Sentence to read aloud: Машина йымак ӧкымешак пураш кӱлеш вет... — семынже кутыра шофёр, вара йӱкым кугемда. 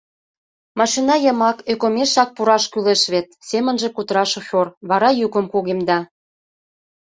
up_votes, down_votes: 2, 0